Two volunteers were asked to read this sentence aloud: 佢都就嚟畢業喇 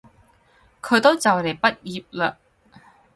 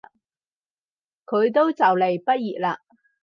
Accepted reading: second